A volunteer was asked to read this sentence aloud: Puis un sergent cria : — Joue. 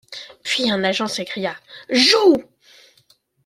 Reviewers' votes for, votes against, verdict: 1, 2, rejected